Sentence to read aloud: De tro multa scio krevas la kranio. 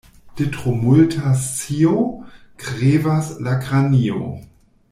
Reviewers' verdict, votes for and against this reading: rejected, 1, 2